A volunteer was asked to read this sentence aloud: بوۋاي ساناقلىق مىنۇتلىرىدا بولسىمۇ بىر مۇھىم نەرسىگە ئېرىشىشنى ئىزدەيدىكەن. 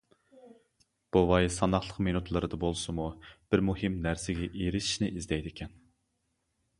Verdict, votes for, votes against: accepted, 2, 0